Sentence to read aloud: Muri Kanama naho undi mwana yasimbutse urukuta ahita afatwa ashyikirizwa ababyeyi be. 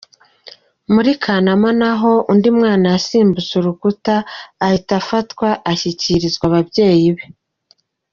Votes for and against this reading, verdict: 2, 0, accepted